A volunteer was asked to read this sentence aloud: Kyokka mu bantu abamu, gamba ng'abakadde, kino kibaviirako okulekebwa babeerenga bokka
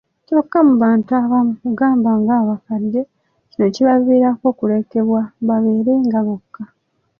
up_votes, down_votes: 1, 2